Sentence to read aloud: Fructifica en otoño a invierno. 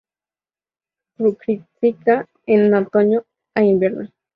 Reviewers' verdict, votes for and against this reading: accepted, 2, 0